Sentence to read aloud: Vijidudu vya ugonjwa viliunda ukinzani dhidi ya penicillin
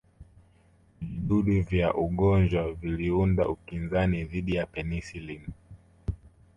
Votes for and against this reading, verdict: 2, 1, accepted